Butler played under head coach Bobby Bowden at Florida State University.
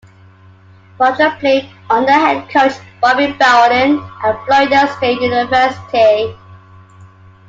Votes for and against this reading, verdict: 0, 2, rejected